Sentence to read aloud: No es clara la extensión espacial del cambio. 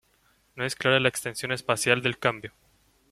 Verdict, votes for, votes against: accepted, 2, 1